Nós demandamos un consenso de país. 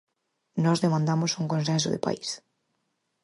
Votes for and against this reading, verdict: 4, 0, accepted